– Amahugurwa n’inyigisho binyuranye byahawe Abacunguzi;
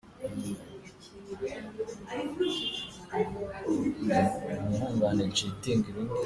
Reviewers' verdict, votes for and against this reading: rejected, 0, 2